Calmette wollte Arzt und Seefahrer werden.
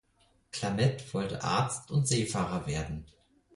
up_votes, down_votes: 2, 4